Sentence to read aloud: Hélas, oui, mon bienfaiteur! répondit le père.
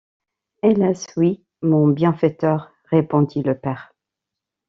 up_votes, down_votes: 2, 0